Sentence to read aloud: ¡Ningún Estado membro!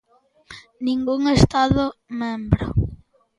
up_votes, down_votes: 2, 0